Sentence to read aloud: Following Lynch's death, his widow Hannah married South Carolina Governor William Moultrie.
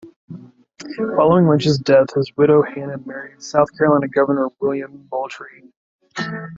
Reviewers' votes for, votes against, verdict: 1, 2, rejected